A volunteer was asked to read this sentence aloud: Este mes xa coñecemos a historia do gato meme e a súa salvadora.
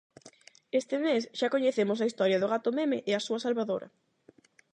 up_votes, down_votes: 8, 0